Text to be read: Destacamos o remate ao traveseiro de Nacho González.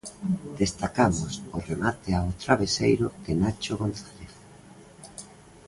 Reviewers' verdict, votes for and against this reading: rejected, 1, 2